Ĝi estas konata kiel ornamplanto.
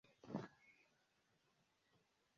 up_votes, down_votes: 1, 2